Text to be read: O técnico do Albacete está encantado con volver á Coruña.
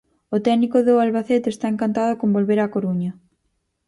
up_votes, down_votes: 4, 0